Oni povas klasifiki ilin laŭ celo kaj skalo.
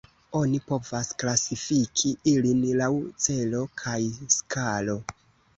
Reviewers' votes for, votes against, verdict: 2, 0, accepted